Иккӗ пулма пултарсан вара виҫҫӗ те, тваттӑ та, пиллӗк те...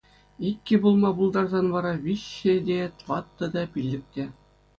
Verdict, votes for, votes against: accepted, 2, 0